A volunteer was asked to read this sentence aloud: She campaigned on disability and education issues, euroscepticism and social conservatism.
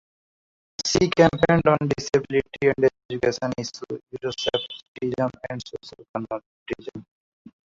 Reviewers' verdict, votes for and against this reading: rejected, 0, 2